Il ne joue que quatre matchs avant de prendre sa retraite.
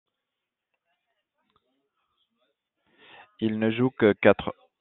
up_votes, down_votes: 0, 2